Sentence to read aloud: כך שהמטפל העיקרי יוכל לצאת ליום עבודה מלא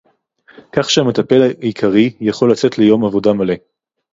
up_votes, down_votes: 2, 2